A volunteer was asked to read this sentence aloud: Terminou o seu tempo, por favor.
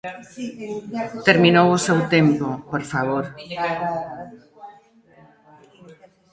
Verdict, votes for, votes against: rejected, 1, 2